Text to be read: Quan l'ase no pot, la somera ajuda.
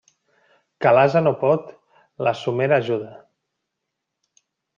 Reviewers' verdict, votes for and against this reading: rejected, 0, 2